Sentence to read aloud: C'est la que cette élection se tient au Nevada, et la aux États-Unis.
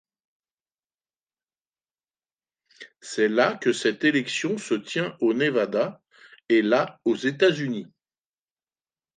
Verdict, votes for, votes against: accepted, 2, 0